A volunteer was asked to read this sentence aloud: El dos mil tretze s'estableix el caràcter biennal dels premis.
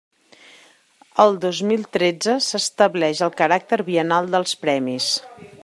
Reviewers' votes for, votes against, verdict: 2, 0, accepted